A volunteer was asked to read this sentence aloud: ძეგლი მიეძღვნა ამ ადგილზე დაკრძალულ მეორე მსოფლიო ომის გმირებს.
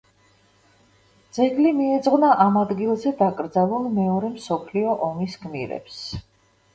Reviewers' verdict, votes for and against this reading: accepted, 2, 0